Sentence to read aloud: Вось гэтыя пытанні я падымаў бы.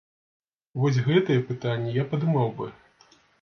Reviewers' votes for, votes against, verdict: 2, 0, accepted